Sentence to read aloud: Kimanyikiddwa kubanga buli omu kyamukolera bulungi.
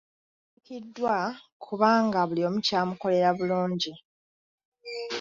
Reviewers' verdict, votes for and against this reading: rejected, 1, 2